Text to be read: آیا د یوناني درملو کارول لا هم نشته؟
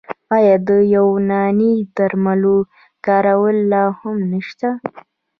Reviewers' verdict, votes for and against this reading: rejected, 1, 2